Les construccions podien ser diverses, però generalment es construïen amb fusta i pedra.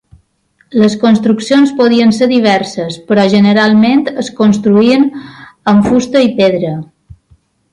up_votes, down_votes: 2, 0